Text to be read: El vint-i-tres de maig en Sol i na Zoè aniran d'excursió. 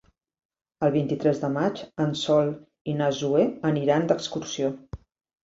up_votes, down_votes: 4, 0